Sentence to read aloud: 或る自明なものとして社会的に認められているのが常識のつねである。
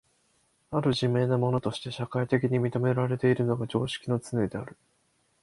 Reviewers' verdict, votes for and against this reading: accepted, 2, 0